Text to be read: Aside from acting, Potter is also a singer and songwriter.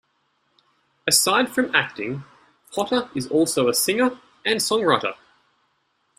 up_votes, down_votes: 1, 2